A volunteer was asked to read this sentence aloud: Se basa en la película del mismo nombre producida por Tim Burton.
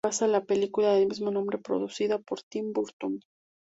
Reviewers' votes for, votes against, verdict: 0, 2, rejected